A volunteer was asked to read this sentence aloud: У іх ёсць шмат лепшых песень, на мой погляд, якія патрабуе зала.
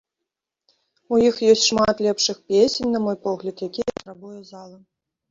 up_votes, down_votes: 1, 2